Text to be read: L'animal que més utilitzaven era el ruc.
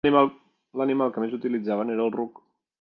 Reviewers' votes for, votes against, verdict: 1, 2, rejected